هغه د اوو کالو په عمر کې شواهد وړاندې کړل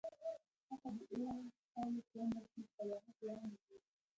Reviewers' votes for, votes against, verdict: 0, 2, rejected